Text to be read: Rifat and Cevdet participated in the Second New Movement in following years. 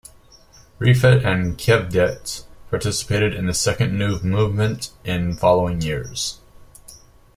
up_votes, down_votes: 2, 0